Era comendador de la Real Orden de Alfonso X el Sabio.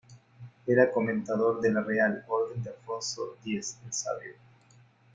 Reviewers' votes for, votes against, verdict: 0, 2, rejected